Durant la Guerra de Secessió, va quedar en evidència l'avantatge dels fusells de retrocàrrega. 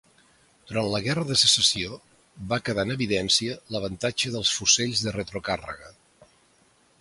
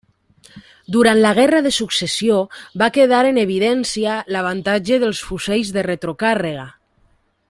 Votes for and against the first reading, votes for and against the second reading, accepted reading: 2, 0, 1, 2, first